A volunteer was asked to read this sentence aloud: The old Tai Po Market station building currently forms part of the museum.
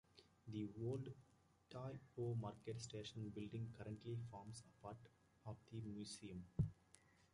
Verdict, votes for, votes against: rejected, 0, 2